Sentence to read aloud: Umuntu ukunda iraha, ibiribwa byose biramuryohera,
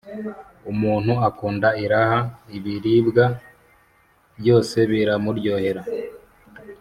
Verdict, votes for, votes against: accepted, 2, 0